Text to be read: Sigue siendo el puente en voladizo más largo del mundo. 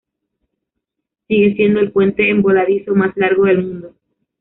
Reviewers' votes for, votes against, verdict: 2, 0, accepted